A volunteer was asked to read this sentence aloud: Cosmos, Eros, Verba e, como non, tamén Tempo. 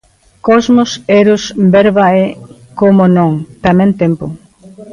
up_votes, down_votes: 2, 0